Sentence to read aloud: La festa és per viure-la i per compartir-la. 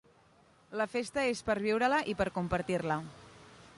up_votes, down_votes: 2, 0